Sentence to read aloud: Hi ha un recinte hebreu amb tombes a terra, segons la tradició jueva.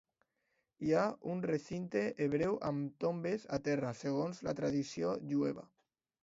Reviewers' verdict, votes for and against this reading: accepted, 2, 0